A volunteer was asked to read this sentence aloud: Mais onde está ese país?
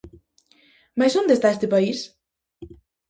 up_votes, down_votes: 0, 2